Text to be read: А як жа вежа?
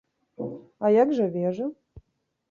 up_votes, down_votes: 2, 0